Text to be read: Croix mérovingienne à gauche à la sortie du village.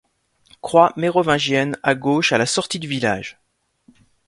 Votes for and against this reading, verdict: 2, 0, accepted